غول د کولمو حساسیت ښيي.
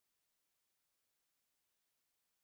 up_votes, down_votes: 1, 2